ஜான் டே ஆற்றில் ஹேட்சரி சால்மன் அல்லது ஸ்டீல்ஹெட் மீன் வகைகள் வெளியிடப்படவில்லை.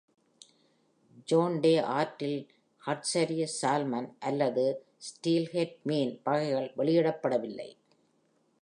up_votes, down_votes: 2, 0